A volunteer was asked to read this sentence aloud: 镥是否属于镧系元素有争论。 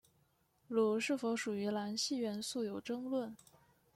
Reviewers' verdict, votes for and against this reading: accepted, 2, 0